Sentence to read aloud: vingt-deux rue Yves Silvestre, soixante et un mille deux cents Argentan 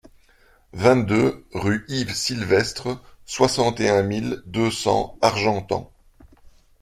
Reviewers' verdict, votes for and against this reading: accepted, 2, 0